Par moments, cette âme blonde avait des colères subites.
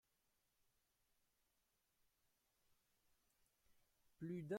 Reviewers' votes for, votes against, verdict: 0, 2, rejected